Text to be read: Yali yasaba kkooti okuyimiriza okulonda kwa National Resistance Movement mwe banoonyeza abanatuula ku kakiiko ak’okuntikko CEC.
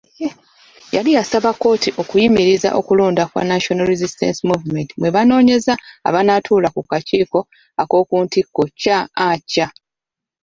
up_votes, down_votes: 0, 2